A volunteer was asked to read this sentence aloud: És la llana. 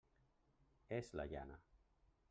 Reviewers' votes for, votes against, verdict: 0, 2, rejected